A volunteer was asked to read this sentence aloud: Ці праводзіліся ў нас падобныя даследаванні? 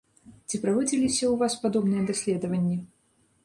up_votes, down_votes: 1, 2